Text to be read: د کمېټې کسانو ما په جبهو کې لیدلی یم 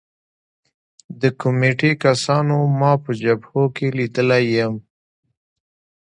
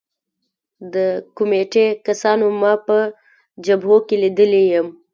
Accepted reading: first